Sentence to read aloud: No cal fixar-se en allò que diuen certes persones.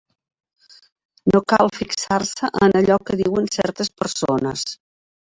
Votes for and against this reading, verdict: 0, 2, rejected